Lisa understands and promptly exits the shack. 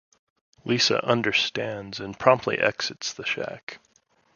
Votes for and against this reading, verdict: 2, 0, accepted